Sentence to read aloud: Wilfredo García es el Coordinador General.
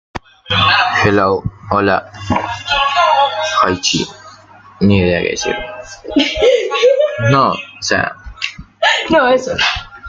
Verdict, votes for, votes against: rejected, 0, 2